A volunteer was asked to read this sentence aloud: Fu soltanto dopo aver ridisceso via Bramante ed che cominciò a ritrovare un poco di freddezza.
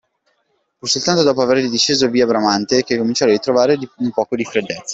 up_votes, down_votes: 0, 2